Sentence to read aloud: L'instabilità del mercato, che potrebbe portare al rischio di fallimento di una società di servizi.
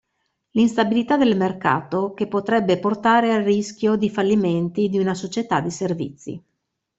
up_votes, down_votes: 0, 2